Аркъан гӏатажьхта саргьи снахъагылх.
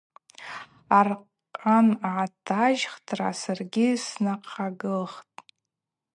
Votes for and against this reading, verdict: 2, 0, accepted